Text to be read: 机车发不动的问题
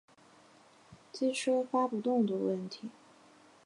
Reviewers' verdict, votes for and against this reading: accepted, 4, 0